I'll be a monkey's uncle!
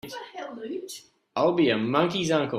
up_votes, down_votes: 0, 2